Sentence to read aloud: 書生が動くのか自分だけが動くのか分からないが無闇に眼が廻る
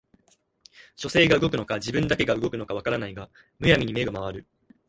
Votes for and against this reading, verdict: 2, 1, accepted